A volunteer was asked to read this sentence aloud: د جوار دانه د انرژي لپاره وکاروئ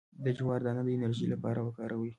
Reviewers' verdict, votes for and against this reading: accepted, 2, 0